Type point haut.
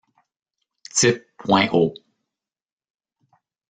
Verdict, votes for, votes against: rejected, 1, 2